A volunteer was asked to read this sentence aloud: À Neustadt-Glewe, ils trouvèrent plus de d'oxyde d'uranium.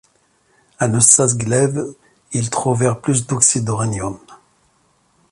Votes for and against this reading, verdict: 1, 2, rejected